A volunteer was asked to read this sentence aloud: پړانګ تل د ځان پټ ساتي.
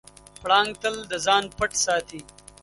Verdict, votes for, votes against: accepted, 2, 0